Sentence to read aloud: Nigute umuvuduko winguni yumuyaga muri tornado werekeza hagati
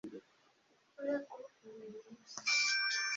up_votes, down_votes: 0, 2